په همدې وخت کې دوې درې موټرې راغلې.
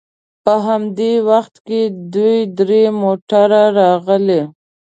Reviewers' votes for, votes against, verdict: 0, 2, rejected